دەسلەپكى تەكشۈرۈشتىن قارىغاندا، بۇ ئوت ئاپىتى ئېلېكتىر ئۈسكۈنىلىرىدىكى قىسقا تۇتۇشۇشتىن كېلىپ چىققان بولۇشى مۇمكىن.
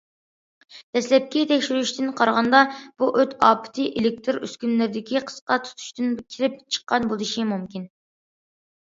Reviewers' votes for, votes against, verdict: 0, 2, rejected